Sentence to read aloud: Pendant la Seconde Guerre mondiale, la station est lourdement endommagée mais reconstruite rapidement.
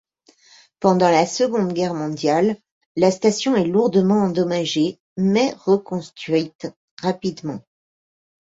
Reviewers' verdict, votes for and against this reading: rejected, 0, 2